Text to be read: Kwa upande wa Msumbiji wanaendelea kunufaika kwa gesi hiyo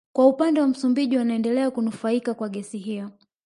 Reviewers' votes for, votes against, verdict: 1, 2, rejected